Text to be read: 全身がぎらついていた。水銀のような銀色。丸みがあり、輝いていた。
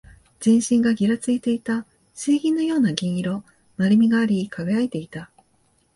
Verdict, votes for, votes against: accepted, 3, 0